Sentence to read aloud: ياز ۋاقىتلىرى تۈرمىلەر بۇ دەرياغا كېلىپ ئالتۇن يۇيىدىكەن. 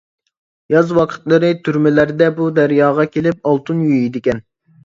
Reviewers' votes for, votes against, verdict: 0, 2, rejected